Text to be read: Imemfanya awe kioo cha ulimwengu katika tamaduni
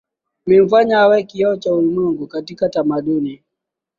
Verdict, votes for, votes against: accepted, 2, 1